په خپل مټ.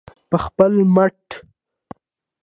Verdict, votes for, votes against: accepted, 2, 0